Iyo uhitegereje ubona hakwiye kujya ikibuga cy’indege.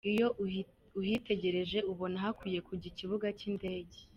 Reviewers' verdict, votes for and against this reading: rejected, 1, 2